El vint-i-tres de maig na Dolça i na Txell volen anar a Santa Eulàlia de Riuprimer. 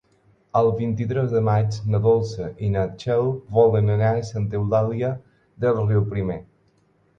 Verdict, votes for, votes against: accepted, 4, 0